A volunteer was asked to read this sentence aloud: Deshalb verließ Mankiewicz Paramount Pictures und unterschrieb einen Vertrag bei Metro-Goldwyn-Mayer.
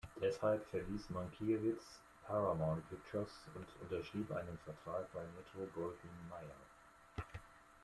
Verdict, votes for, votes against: accepted, 2, 1